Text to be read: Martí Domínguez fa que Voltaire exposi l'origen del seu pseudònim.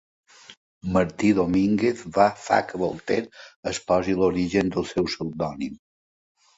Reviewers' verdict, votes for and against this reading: rejected, 1, 2